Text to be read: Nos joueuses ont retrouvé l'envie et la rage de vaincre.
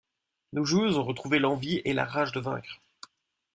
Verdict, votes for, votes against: accepted, 2, 0